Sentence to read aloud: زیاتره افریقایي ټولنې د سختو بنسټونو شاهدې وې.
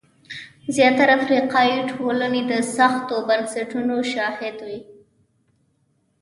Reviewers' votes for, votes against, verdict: 1, 2, rejected